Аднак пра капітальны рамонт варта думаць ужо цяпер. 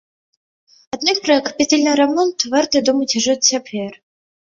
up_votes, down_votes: 1, 2